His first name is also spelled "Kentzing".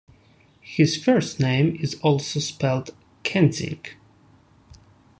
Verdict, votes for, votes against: accepted, 2, 0